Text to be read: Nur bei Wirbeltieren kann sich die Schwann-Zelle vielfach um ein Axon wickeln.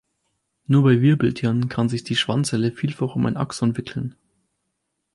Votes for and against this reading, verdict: 4, 0, accepted